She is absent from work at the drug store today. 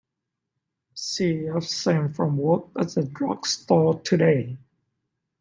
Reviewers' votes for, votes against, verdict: 0, 2, rejected